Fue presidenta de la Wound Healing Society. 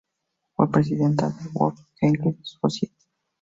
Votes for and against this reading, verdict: 0, 2, rejected